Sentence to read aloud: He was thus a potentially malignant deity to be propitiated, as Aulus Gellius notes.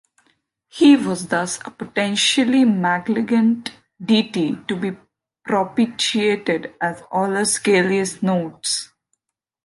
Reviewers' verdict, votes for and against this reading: rejected, 0, 2